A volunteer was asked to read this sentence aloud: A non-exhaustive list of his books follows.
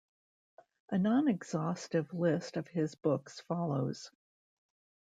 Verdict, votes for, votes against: rejected, 0, 2